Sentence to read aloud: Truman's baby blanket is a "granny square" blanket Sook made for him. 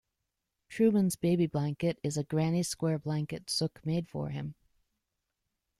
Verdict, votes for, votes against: accepted, 2, 1